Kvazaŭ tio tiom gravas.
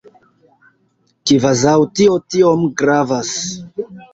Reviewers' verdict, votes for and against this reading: accepted, 2, 1